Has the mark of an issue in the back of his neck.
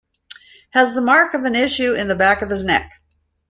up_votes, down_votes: 2, 0